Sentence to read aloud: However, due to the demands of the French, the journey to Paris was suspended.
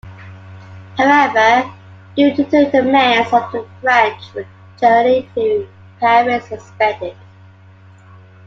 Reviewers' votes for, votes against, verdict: 2, 0, accepted